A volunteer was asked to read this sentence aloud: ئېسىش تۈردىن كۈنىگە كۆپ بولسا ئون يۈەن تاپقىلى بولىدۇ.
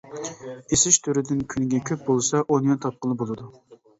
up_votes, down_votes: 1, 2